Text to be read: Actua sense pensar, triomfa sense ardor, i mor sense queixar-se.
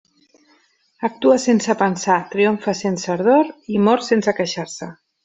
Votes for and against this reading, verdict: 3, 0, accepted